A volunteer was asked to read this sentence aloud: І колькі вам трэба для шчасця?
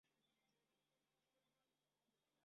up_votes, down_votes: 0, 2